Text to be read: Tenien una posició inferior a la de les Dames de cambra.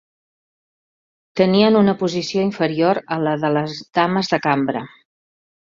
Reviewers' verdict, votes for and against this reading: accepted, 2, 0